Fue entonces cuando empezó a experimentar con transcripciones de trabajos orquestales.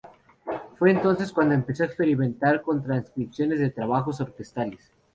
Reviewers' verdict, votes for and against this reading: accepted, 2, 0